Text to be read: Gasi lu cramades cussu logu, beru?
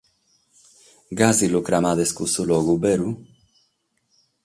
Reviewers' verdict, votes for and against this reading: accepted, 6, 0